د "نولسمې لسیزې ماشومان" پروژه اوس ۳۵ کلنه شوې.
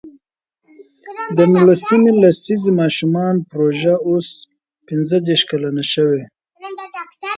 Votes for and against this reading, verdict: 0, 2, rejected